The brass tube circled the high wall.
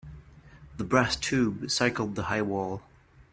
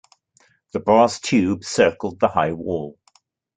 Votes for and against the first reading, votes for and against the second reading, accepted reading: 1, 2, 2, 0, second